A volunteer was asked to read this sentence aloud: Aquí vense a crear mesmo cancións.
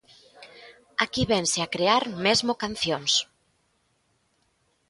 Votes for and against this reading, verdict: 2, 0, accepted